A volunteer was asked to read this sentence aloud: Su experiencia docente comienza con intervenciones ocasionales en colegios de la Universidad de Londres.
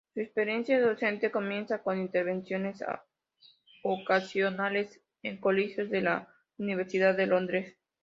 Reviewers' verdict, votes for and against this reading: accepted, 2, 0